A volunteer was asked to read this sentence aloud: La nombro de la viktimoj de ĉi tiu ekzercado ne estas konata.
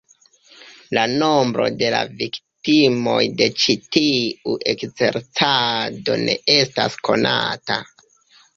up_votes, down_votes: 1, 2